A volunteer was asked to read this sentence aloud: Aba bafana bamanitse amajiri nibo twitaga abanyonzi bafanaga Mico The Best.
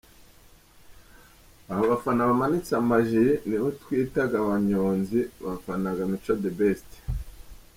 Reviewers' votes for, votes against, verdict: 2, 1, accepted